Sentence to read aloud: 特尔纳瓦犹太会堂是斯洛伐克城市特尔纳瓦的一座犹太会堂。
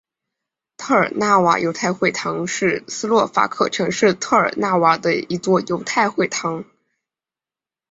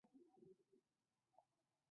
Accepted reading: first